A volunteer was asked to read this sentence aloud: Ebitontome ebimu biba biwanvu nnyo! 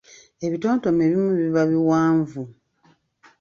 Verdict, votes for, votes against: rejected, 1, 2